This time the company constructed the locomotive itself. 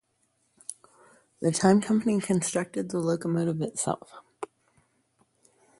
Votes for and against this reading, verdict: 0, 2, rejected